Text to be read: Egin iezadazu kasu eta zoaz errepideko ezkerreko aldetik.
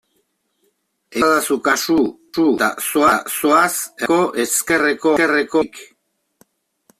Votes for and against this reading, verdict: 0, 2, rejected